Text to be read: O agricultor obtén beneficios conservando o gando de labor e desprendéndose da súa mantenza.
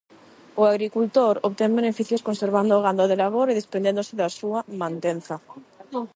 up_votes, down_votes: 0, 8